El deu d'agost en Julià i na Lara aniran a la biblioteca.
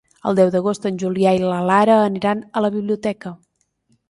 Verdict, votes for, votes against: rejected, 1, 2